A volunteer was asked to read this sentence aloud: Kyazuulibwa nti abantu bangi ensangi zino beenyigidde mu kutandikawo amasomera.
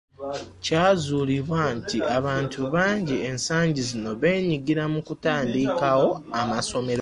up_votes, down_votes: 2, 0